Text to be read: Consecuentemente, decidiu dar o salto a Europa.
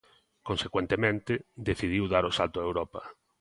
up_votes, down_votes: 2, 0